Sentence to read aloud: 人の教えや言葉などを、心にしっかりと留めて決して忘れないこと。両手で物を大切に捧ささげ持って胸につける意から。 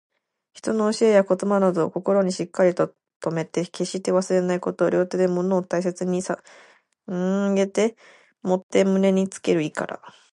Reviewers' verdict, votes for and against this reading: rejected, 0, 2